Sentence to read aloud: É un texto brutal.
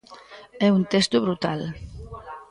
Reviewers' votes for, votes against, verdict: 1, 2, rejected